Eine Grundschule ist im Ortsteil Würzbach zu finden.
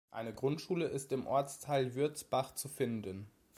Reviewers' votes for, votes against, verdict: 2, 0, accepted